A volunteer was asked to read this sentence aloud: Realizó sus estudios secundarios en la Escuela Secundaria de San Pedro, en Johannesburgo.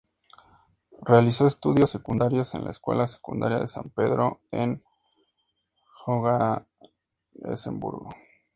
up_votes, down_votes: 2, 0